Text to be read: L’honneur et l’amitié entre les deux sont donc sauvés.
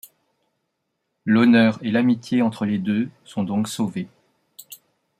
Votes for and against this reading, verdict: 2, 0, accepted